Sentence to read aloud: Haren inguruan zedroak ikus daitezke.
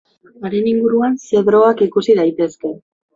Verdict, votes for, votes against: rejected, 0, 2